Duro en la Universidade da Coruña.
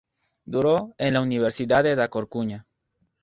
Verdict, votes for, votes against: rejected, 0, 2